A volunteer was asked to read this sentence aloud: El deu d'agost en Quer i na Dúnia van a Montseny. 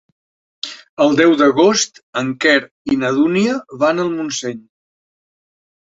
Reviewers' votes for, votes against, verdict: 1, 2, rejected